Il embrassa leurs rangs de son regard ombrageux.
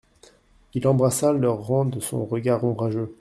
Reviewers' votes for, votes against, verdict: 2, 0, accepted